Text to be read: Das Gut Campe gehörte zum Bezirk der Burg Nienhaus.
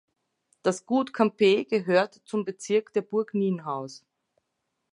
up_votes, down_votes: 2, 0